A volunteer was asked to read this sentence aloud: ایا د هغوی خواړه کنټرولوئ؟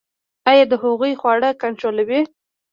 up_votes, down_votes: 1, 2